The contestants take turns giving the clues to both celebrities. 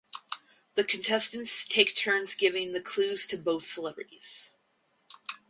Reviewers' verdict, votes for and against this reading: rejected, 2, 2